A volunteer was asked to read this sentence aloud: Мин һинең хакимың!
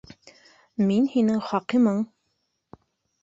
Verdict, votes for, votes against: rejected, 1, 2